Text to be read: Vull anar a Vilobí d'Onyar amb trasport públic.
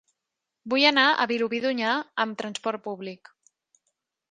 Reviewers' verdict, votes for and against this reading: accepted, 2, 0